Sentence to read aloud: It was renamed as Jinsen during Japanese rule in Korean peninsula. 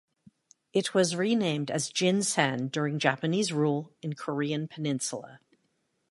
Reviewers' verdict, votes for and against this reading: accepted, 2, 1